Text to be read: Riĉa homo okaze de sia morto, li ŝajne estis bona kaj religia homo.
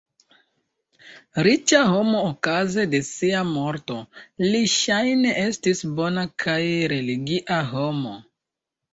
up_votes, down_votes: 2, 0